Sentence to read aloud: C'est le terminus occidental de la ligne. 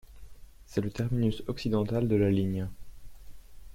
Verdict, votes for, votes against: accepted, 2, 0